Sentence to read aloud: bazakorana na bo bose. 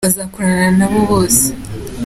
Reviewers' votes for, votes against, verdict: 3, 0, accepted